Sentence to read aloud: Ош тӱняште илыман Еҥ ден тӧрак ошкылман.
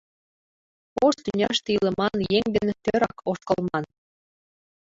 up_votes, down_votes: 1, 2